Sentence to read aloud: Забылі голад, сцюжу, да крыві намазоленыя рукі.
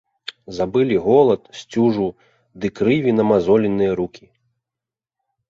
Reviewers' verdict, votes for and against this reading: rejected, 0, 3